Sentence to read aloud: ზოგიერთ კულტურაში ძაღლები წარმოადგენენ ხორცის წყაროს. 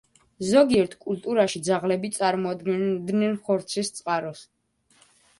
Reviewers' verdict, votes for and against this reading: accepted, 2, 0